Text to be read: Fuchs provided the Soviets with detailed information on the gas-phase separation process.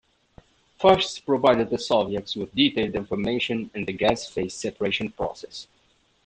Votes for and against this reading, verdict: 2, 0, accepted